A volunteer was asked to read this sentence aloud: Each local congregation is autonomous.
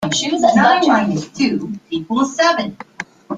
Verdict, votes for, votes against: rejected, 0, 2